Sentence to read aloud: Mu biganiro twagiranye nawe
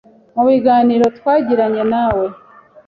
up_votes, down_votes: 2, 0